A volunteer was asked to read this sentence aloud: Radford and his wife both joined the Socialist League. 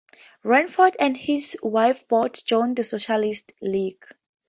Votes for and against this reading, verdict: 2, 0, accepted